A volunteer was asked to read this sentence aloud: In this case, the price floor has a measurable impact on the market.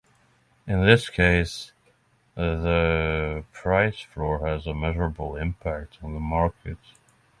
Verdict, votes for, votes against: rejected, 3, 3